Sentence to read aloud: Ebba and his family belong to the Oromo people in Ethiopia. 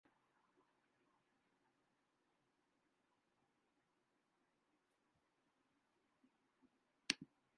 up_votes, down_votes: 0, 2